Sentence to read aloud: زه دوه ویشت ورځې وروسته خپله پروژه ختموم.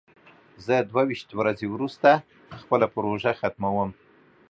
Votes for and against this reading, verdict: 2, 0, accepted